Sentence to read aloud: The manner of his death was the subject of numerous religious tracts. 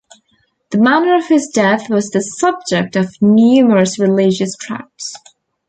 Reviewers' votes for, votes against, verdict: 2, 0, accepted